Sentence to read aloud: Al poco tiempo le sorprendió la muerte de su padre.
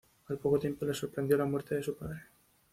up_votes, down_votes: 2, 0